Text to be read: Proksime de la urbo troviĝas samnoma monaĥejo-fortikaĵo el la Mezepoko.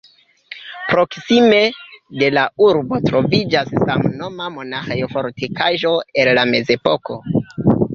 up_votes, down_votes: 1, 2